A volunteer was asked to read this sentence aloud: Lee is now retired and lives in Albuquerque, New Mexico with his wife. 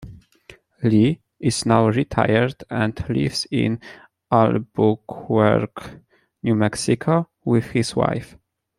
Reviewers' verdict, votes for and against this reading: rejected, 0, 2